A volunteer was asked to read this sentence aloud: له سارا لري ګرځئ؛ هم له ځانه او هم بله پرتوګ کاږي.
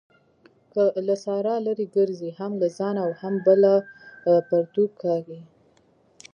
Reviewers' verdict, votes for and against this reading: rejected, 0, 2